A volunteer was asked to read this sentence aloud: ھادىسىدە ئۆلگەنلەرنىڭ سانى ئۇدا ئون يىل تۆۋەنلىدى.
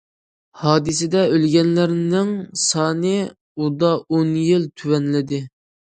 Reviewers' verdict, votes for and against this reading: accepted, 2, 0